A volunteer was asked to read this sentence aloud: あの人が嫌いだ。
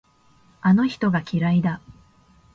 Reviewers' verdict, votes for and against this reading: accepted, 3, 0